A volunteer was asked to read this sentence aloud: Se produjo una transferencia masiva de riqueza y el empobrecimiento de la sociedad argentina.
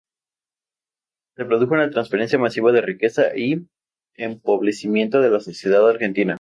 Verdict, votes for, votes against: rejected, 0, 2